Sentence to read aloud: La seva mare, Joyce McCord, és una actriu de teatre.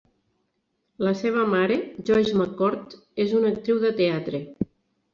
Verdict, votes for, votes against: accepted, 3, 0